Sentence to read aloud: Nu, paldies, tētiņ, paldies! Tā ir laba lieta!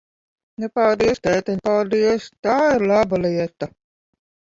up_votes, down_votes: 0, 2